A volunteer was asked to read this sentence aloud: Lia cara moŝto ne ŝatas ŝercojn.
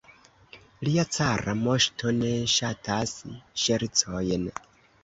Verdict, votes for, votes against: accepted, 2, 1